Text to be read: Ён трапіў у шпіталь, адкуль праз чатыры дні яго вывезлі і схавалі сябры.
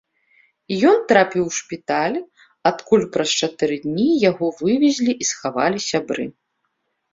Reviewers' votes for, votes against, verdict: 2, 0, accepted